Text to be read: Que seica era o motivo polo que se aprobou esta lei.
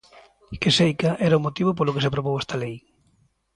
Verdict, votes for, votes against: accepted, 2, 0